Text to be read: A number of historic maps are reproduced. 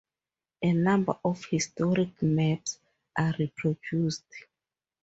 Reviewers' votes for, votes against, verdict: 2, 0, accepted